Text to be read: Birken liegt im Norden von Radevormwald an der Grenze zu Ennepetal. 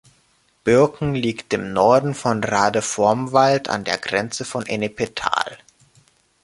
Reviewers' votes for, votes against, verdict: 1, 2, rejected